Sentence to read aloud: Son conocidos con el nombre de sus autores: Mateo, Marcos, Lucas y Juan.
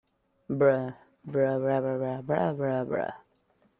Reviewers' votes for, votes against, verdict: 0, 2, rejected